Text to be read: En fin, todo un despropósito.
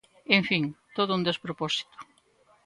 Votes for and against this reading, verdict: 2, 0, accepted